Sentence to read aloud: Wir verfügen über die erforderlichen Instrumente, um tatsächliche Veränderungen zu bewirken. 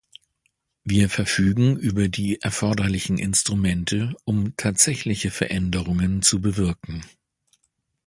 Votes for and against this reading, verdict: 2, 0, accepted